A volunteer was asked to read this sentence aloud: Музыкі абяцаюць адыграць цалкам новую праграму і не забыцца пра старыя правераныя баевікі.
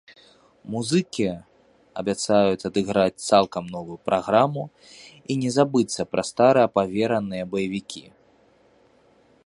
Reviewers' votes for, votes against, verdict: 0, 2, rejected